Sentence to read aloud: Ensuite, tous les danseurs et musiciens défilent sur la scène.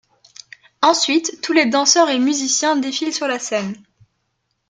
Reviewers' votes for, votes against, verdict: 2, 0, accepted